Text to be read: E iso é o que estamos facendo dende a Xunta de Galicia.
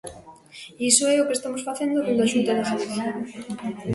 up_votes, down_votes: 2, 0